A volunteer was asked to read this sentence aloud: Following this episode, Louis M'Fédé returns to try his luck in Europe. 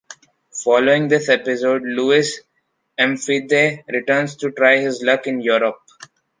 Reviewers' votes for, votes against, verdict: 2, 0, accepted